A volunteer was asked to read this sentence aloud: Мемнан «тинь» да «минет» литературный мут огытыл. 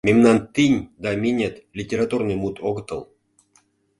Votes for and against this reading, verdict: 2, 0, accepted